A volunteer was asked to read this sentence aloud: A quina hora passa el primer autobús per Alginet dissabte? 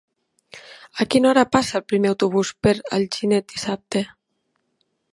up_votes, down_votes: 3, 0